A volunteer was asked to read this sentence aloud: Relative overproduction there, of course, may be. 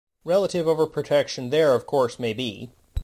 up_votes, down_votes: 0, 2